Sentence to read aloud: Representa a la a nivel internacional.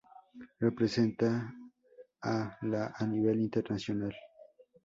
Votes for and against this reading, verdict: 0, 2, rejected